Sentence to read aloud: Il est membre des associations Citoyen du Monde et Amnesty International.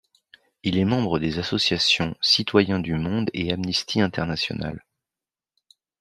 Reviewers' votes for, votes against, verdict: 2, 0, accepted